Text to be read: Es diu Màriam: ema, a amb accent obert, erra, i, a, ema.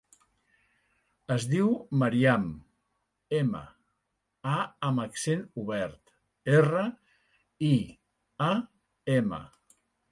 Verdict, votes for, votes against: rejected, 0, 2